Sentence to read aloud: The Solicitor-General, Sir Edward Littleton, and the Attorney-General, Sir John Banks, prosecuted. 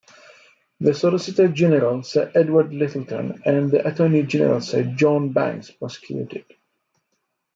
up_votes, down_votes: 2, 1